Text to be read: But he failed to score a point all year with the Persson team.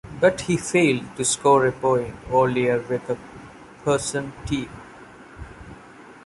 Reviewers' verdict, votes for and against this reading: rejected, 1, 2